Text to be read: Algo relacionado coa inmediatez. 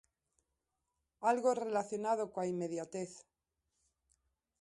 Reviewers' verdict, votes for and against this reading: accepted, 2, 0